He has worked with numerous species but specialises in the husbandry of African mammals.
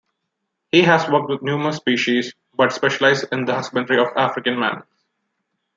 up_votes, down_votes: 0, 2